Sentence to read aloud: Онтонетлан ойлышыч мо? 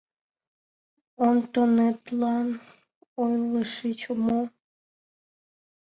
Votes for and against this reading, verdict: 2, 3, rejected